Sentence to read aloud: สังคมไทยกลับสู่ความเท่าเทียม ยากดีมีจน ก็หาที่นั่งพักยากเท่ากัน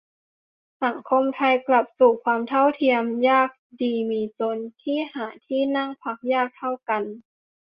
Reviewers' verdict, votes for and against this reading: rejected, 0, 2